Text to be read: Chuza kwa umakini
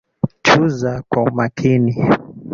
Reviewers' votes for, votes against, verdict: 2, 1, accepted